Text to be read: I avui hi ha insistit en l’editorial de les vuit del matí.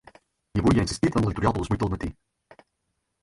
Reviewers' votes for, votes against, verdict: 0, 4, rejected